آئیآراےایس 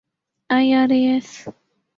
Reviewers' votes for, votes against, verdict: 3, 0, accepted